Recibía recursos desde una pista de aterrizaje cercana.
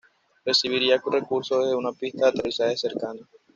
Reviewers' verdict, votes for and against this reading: rejected, 1, 2